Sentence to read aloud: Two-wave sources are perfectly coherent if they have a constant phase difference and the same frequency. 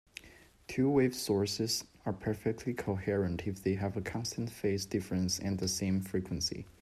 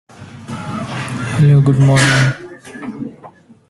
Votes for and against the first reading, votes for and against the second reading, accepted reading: 2, 0, 0, 2, first